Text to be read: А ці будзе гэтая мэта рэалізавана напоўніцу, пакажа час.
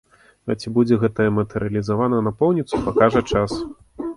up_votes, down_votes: 2, 0